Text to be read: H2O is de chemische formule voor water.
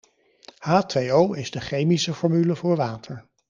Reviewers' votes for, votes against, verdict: 0, 2, rejected